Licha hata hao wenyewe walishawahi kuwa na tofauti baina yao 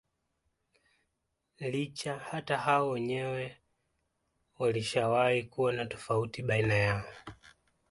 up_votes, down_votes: 2, 0